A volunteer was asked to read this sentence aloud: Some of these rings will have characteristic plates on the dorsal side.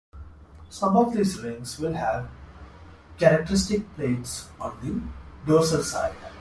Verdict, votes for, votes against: accepted, 2, 0